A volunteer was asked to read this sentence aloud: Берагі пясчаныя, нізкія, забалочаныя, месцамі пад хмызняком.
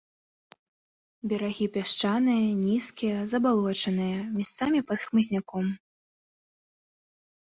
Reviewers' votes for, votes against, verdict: 1, 2, rejected